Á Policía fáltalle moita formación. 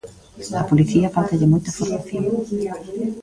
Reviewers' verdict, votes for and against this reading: rejected, 0, 2